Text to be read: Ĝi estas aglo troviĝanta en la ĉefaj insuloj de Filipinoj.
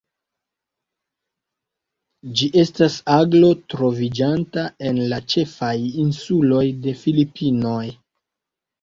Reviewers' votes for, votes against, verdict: 2, 0, accepted